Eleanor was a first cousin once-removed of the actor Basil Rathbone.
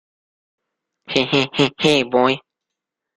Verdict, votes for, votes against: rejected, 0, 2